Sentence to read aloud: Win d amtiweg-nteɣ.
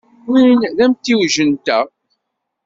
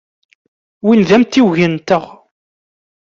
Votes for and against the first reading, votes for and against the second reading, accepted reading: 0, 2, 2, 0, second